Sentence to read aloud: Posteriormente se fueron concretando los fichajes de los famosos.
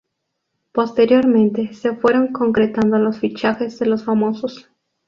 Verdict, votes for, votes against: accepted, 2, 0